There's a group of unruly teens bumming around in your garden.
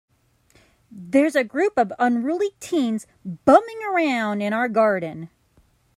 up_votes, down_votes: 1, 2